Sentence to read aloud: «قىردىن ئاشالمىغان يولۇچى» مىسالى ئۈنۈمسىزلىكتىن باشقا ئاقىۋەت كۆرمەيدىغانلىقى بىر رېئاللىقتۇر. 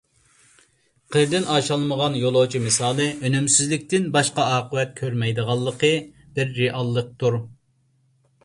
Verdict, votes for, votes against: accepted, 2, 0